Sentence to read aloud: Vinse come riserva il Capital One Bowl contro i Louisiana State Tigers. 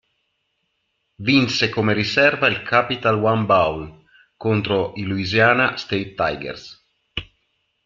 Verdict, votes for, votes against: accepted, 2, 1